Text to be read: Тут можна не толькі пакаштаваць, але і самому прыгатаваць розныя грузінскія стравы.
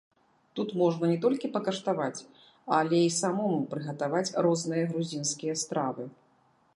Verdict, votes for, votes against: rejected, 0, 2